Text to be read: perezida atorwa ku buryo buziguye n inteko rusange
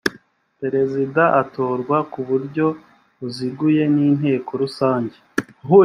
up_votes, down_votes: 2, 0